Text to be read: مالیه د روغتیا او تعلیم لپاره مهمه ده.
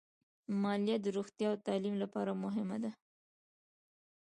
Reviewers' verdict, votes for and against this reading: rejected, 1, 2